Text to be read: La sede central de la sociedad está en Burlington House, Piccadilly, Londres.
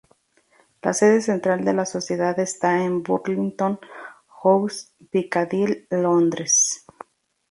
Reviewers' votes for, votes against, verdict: 2, 0, accepted